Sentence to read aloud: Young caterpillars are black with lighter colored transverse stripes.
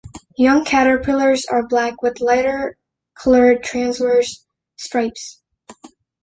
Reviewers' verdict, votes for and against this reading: accepted, 2, 0